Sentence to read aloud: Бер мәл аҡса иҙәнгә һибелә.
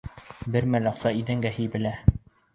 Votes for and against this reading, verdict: 2, 1, accepted